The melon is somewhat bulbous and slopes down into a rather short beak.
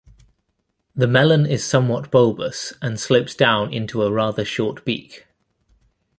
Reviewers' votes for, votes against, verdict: 2, 0, accepted